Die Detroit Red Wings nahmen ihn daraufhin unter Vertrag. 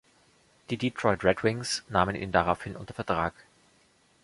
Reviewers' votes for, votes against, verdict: 2, 0, accepted